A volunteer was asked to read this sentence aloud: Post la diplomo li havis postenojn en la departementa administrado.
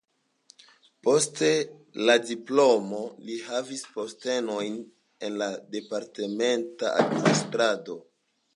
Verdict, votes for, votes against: accepted, 3, 0